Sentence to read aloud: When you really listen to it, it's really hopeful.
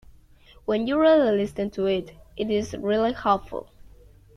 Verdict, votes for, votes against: accepted, 2, 1